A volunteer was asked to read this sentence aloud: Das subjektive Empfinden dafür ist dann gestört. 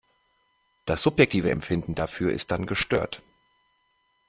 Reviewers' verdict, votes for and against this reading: accepted, 2, 0